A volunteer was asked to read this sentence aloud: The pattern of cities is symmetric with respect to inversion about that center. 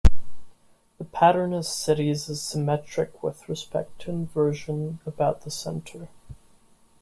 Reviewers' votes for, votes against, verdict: 1, 2, rejected